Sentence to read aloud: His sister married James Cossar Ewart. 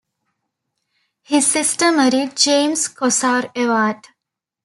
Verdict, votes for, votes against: rejected, 1, 2